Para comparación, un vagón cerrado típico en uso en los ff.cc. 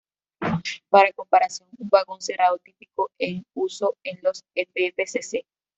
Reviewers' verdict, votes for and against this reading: rejected, 1, 2